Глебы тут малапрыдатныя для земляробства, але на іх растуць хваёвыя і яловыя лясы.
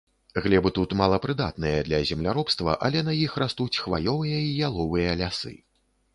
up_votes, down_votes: 4, 0